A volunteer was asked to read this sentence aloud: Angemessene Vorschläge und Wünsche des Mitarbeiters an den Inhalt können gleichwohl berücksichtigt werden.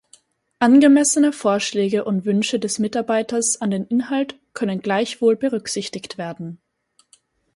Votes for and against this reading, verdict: 4, 0, accepted